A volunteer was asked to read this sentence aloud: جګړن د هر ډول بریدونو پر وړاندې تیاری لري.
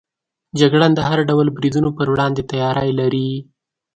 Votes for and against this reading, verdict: 2, 0, accepted